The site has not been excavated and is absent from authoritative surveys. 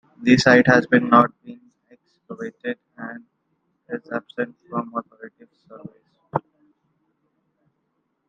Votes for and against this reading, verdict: 1, 2, rejected